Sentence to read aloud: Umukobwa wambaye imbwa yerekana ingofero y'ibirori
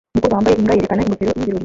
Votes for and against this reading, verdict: 0, 2, rejected